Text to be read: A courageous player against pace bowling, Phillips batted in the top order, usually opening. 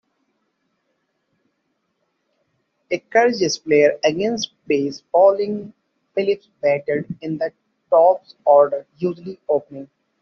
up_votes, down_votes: 0, 2